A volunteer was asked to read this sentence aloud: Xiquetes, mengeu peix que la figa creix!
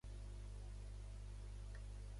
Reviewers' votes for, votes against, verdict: 0, 2, rejected